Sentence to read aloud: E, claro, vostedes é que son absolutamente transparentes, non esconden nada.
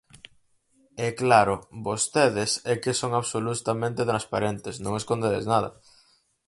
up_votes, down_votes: 0, 4